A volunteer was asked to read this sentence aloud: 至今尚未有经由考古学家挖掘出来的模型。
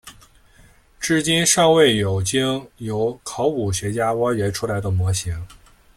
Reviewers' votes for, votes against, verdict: 2, 0, accepted